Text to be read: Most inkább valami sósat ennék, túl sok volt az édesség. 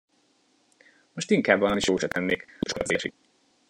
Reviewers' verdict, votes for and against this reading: rejected, 0, 2